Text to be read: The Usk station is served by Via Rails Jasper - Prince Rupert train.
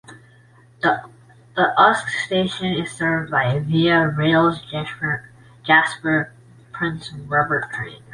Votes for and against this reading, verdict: 0, 3, rejected